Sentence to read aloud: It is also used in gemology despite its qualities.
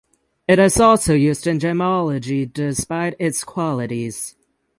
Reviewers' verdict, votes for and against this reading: rejected, 3, 6